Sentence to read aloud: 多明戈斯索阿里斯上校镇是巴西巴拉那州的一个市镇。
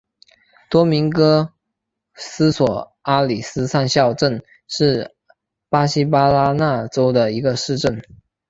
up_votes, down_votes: 3, 1